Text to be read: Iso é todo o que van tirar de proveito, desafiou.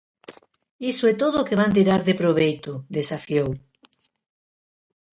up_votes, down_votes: 2, 0